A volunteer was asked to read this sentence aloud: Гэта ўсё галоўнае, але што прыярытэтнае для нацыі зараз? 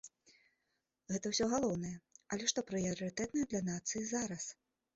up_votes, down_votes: 1, 2